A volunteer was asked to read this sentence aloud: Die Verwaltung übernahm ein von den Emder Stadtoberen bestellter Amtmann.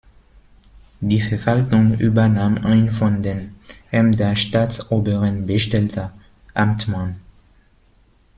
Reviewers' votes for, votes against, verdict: 0, 2, rejected